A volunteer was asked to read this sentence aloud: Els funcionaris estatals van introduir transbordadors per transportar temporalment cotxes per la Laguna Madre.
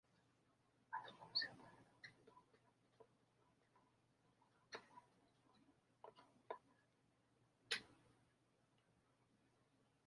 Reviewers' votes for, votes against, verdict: 1, 2, rejected